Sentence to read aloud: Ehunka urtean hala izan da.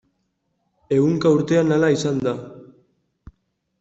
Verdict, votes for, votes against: accepted, 2, 0